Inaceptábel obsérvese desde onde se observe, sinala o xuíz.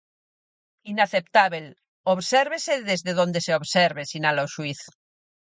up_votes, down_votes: 0, 4